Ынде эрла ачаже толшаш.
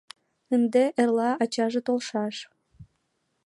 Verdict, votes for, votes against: accepted, 2, 0